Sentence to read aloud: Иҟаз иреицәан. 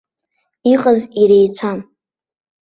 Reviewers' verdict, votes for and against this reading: accepted, 2, 0